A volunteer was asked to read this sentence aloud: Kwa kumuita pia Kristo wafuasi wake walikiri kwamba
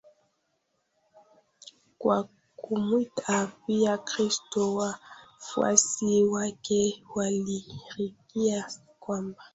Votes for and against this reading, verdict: 1, 2, rejected